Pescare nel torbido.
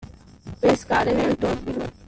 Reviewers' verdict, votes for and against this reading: rejected, 0, 2